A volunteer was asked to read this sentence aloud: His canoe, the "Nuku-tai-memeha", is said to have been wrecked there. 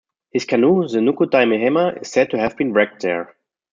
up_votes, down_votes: 1, 2